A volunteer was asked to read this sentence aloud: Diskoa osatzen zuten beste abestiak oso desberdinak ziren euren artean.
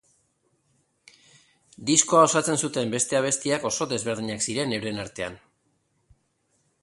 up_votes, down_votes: 2, 0